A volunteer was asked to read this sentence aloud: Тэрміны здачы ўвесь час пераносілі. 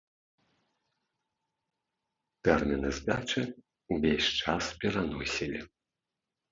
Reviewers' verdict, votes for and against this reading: accepted, 2, 0